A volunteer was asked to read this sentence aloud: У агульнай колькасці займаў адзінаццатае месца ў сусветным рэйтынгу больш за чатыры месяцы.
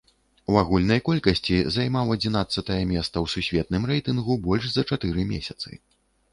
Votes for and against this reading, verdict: 1, 2, rejected